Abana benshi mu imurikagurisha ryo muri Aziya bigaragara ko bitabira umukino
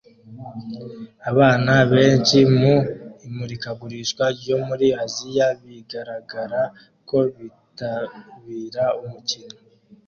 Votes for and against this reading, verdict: 2, 0, accepted